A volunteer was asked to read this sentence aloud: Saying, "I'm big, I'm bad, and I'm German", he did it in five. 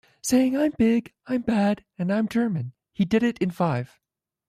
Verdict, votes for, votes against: rejected, 1, 2